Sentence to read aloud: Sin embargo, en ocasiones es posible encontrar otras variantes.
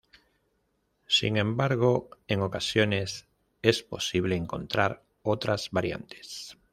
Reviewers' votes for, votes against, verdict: 2, 0, accepted